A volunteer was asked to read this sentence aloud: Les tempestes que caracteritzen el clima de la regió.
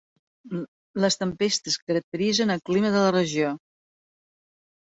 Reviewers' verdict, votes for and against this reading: rejected, 1, 2